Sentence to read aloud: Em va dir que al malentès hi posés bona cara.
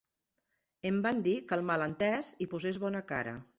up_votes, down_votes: 0, 2